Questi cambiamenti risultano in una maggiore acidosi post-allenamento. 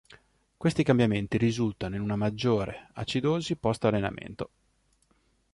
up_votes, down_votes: 2, 0